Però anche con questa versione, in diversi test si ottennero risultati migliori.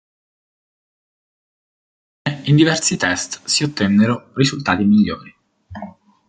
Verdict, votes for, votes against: rejected, 0, 2